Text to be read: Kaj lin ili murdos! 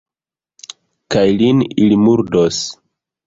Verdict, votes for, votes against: accepted, 2, 0